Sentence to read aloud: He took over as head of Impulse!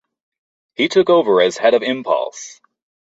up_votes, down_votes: 2, 0